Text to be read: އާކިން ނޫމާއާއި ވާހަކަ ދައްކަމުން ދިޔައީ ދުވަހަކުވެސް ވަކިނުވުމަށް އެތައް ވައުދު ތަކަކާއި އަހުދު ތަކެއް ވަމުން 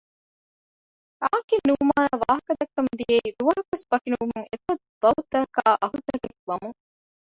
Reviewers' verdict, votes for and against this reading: rejected, 0, 2